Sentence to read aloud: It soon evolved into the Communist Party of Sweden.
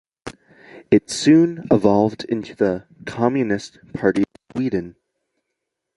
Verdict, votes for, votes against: rejected, 0, 2